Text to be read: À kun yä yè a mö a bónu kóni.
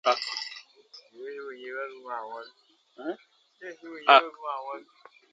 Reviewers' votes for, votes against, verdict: 0, 3, rejected